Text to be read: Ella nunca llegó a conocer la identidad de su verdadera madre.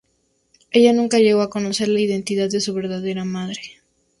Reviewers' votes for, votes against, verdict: 2, 0, accepted